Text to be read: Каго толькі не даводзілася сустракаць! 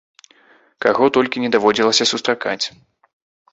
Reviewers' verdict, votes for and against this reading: accepted, 2, 0